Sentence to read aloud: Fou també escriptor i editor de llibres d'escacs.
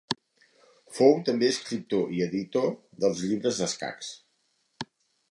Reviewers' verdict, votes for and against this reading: rejected, 0, 2